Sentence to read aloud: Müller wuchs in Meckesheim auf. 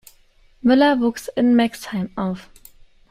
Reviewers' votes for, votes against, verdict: 0, 2, rejected